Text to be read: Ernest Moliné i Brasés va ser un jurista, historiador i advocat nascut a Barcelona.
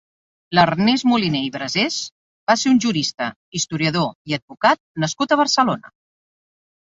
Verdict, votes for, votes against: rejected, 0, 2